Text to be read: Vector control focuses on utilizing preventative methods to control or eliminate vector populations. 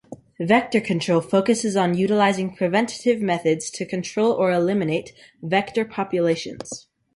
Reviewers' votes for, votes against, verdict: 2, 0, accepted